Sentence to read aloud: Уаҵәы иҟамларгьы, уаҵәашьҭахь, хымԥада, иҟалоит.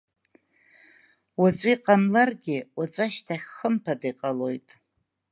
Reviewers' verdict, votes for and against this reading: accepted, 2, 1